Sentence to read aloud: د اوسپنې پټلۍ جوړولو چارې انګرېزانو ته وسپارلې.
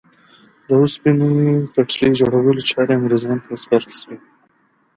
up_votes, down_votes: 1, 2